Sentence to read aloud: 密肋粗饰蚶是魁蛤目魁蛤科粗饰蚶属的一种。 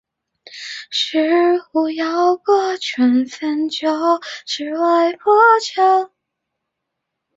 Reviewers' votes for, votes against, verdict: 0, 3, rejected